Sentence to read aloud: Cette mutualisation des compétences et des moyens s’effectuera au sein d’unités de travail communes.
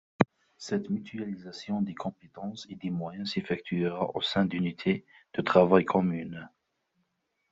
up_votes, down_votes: 2, 1